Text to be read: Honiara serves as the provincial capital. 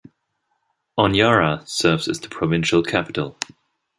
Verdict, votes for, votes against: accepted, 2, 0